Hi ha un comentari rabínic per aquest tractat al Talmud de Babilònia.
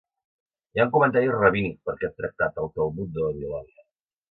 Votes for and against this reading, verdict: 1, 2, rejected